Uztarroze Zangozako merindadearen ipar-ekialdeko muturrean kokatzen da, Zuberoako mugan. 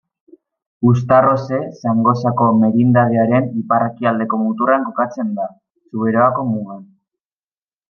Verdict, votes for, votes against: rejected, 1, 2